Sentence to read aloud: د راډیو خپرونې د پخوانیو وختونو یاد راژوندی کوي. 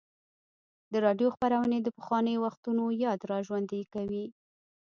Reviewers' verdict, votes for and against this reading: rejected, 1, 2